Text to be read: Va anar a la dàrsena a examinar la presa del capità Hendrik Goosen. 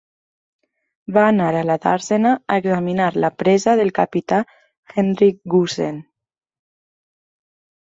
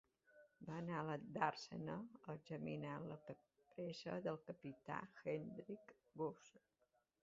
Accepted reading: first